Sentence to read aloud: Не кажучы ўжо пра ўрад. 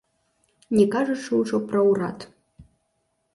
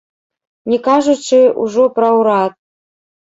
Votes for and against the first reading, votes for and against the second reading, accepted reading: 2, 0, 1, 2, first